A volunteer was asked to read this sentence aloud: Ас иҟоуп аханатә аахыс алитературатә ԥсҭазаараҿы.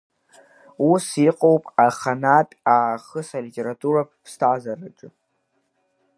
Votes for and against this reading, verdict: 2, 4, rejected